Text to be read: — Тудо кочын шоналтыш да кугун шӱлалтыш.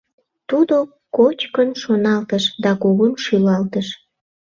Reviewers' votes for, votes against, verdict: 0, 2, rejected